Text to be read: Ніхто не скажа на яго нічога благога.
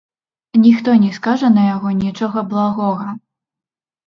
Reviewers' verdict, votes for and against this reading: rejected, 0, 2